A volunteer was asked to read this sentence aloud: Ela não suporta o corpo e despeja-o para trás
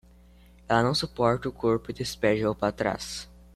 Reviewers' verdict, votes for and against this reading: accepted, 2, 0